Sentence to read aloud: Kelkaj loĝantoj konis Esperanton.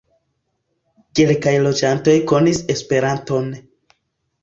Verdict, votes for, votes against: accepted, 2, 0